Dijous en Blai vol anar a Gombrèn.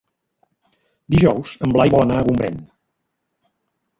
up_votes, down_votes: 1, 2